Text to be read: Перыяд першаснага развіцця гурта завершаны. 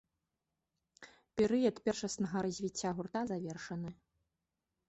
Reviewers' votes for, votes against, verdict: 2, 0, accepted